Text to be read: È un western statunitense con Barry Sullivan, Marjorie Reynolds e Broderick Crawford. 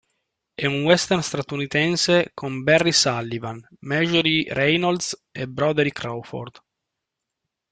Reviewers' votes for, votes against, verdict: 2, 0, accepted